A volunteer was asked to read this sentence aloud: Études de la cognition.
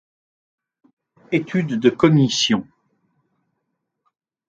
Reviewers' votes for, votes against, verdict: 1, 2, rejected